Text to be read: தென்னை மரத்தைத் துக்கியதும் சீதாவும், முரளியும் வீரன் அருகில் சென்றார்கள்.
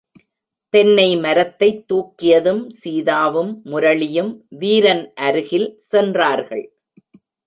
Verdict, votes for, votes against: rejected, 1, 2